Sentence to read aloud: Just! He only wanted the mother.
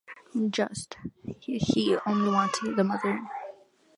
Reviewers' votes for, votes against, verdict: 2, 0, accepted